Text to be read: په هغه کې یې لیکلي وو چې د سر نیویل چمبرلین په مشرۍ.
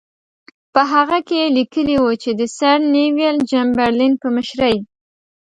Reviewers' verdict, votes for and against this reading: accepted, 2, 0